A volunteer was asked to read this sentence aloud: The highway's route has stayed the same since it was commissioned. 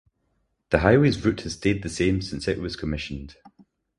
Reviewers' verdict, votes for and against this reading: accepted, 4, 0